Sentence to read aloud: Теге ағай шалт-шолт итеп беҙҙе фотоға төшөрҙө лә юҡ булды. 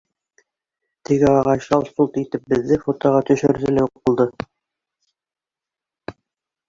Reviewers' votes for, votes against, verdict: 0, 2, rejected